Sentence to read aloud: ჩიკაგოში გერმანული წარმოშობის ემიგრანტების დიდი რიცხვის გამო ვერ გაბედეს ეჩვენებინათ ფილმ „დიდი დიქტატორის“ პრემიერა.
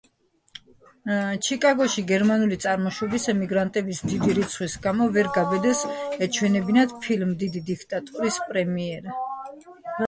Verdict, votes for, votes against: rejected, 1, 2